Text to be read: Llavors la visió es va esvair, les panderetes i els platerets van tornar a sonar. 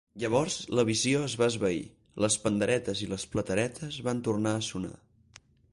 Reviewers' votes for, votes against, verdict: 4, 4, rejected